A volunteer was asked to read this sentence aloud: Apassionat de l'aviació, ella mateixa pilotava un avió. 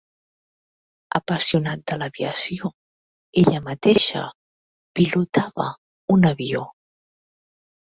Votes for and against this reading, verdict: 3, 0, accepted